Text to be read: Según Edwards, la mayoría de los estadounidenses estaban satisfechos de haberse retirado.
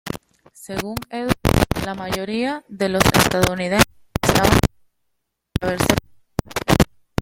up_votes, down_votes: 1, 2